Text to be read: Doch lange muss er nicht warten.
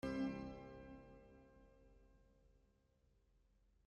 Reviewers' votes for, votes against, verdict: 0, 2, rejected